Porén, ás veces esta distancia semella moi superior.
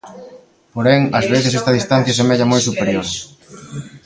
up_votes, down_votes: 1, 2